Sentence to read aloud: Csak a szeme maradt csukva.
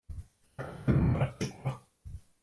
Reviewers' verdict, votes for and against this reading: rejected, 0, 2